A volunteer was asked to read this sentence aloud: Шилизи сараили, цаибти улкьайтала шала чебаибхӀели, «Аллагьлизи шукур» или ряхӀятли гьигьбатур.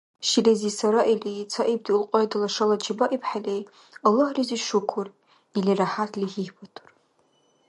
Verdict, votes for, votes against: accepted, 2, 0